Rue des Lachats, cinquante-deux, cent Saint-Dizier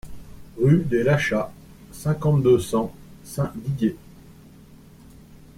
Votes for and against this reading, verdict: 0, 2, rejected